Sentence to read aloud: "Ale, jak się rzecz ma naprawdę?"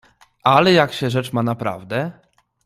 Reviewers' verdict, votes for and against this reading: accepted, 2, 0